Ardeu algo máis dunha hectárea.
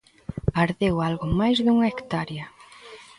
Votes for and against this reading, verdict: 1, 2, rejected